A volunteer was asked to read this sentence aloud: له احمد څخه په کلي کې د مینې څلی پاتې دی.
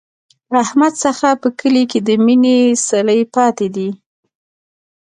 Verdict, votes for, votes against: rejected, 0, 2